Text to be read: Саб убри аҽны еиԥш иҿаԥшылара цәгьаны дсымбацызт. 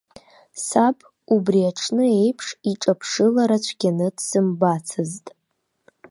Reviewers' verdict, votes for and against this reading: rejected, 1, 2